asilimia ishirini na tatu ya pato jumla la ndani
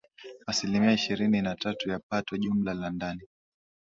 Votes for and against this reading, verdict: 8, 3, accepted